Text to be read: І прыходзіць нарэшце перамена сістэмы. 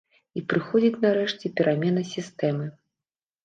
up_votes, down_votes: 2, 0